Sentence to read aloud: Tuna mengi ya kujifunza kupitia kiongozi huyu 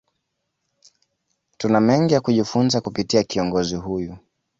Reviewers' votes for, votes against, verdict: 2, 0, accepted